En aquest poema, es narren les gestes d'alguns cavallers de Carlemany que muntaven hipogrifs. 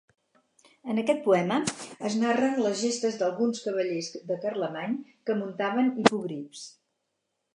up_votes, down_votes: 4, 0